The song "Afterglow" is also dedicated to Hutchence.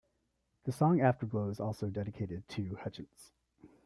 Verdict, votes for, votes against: rejected, 1, 2